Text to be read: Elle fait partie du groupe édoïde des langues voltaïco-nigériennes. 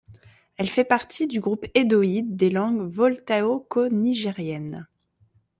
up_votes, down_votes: 1, 3